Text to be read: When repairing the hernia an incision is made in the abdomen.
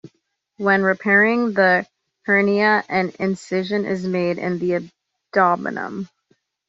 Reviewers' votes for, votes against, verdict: 1, 2, rejected